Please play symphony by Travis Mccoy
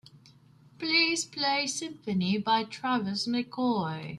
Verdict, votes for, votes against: accepted, 2, 0